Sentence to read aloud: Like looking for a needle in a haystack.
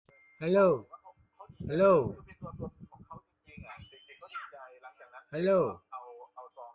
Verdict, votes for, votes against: rejected, 0, 2